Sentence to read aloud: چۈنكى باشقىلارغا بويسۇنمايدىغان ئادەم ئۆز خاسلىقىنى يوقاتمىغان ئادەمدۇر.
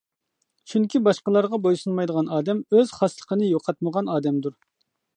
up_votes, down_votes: 2, 0